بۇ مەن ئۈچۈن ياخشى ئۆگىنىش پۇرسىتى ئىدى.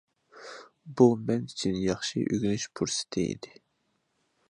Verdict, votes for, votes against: accepted, 2, 0